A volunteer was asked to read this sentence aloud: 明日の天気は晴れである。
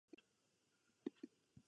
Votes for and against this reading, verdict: 0, 2, rejected